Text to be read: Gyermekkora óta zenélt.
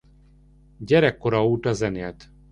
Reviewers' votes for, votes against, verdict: 1, 2, rejected